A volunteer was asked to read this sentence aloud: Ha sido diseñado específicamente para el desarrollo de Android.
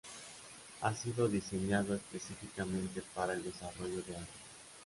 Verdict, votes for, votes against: rejected, 1, 2